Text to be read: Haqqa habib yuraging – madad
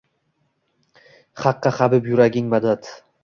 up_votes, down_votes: 2, 0